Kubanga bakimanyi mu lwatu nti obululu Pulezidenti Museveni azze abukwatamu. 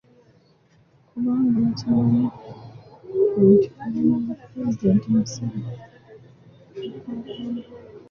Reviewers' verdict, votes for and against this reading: rejected, 0, 2